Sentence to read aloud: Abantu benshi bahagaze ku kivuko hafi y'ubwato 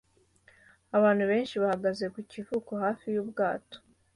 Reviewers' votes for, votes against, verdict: 2, 1, accepted